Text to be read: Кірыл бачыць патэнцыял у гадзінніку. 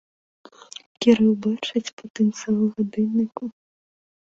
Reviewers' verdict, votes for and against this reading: rejected, 1, 2